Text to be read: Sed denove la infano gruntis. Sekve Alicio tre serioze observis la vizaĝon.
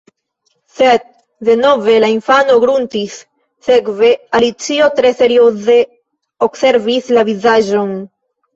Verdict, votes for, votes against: accepted, 2, 0